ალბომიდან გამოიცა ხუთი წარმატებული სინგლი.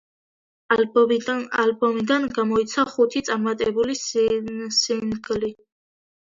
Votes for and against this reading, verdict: 0, 2, rejected